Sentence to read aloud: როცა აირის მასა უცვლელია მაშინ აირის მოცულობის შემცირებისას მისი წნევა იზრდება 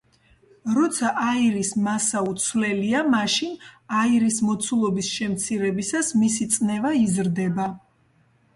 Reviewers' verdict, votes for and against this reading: accepted, 2, 0